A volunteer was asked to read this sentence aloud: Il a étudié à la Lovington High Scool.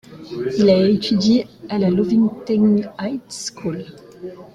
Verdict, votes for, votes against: rejected, 0, 2